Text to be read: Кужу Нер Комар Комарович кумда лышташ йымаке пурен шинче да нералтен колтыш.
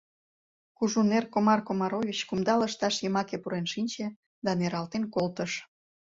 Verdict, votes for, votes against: accepted, 2, 0